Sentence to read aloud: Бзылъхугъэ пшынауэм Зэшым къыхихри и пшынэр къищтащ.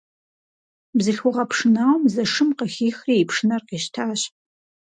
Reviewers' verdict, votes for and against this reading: accepted, 4, 0